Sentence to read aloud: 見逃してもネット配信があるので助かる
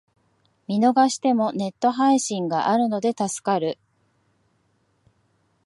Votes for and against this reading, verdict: 2, 0, accepted